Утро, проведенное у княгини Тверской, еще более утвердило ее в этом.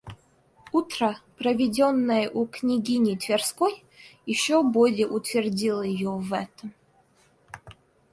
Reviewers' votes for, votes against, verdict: 1, 2, rejected